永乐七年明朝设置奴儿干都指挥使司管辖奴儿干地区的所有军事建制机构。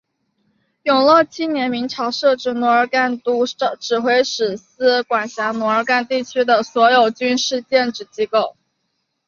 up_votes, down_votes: 2, 1